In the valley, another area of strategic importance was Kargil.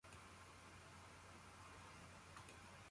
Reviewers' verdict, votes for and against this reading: rejected, 0, 2